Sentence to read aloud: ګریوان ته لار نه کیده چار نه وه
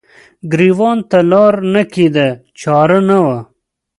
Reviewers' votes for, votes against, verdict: 2, 0, accepted